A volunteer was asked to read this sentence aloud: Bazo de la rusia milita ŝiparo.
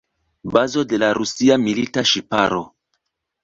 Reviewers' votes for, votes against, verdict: 2, 0, accepted